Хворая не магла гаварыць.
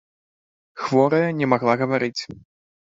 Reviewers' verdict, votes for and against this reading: rejected, 0, 2